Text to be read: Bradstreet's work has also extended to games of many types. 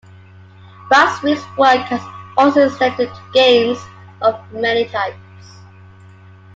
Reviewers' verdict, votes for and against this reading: accepted, 2, 0